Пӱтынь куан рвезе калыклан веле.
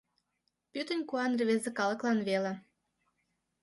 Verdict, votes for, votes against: accepted, 2, 0